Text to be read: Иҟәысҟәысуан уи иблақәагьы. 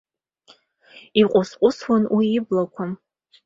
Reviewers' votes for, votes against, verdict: 2, 0, accepted